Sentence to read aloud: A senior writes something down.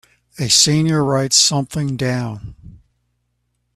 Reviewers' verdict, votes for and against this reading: accepted, 4, 0